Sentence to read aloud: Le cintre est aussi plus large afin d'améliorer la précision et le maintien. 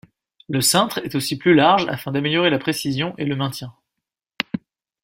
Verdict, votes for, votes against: accepted, 2, 0